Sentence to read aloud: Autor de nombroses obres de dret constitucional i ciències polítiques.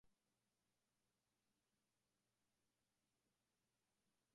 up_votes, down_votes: 0, 2